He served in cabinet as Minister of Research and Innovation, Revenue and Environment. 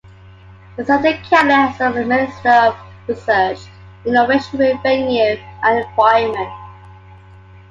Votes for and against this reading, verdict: 0, 2, rejected